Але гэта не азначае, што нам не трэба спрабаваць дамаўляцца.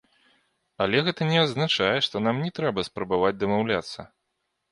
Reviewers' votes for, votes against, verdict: 1, 2, rejected